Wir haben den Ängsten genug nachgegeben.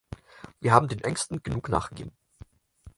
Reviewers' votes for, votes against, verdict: 2, 4, rejected